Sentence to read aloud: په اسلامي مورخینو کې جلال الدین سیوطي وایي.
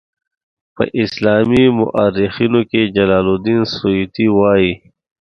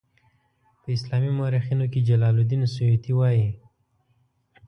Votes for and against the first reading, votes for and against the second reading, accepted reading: 2, 0, 1, 2, first